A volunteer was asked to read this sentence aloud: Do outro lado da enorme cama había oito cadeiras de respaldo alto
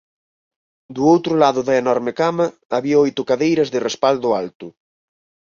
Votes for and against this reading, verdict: 4, 2, accepted